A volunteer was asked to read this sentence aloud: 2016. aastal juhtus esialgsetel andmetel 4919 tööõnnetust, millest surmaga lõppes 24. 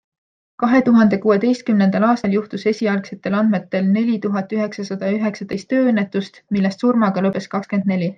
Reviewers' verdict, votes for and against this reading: rejected, 0, 2